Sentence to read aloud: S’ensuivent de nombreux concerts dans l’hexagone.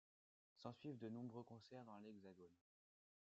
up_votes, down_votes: 2, 0